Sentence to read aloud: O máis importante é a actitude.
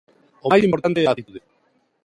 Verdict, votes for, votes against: rejected, 0, 2